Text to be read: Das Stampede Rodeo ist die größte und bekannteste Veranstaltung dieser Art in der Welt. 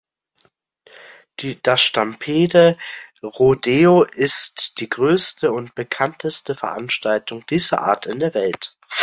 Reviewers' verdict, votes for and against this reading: rejected, 0, 2